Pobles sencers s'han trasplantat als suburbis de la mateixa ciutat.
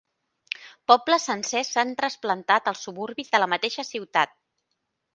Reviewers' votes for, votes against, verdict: 2, 0, accepted